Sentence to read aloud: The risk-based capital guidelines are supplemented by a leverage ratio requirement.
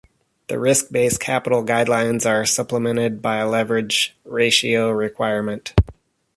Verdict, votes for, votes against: rejected, 1, 2